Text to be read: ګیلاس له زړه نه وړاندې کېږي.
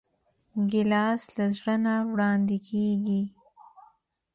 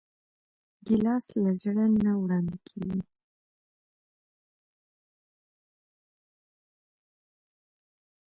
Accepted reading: first